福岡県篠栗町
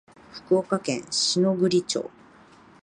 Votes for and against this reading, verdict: 3, 0, accepted